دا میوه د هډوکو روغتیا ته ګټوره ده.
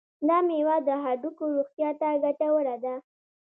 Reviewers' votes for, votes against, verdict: 1, 2, rejected